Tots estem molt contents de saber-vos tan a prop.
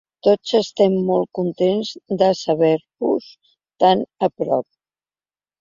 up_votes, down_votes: 2, 0